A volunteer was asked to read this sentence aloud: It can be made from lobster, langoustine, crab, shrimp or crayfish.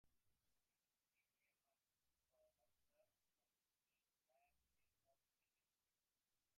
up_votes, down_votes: 0, 2